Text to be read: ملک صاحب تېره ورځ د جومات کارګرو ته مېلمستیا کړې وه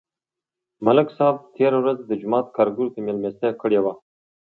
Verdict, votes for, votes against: accepted, 2, 0